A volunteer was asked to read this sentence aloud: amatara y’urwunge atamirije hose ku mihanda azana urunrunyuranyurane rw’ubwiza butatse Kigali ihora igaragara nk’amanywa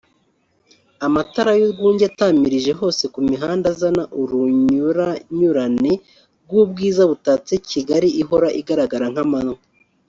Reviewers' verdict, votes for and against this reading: rejected, 1, 2